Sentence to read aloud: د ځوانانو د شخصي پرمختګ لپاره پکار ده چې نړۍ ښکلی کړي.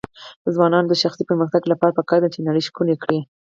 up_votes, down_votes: 2, 4